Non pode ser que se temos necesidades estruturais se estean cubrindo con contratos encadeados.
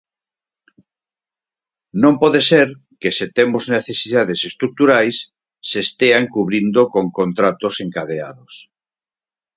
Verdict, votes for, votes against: accepted, 4, 0